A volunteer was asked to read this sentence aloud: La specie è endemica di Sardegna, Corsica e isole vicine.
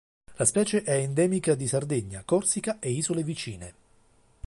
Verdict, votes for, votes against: accepted, 2, 0